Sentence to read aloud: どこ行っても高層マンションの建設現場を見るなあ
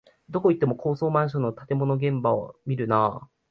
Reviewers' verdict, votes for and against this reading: rejected, 1, 2